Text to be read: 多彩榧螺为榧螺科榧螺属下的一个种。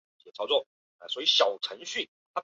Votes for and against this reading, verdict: 0, 2, rejected